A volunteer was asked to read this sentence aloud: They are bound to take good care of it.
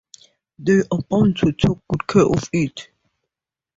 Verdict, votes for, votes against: rejected, 0, 2